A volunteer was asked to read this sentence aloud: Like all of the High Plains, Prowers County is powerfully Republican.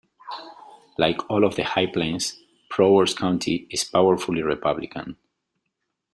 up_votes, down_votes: 2, 0